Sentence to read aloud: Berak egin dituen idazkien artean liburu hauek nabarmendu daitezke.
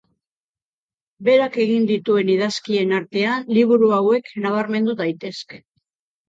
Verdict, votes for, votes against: accepted, 3, 0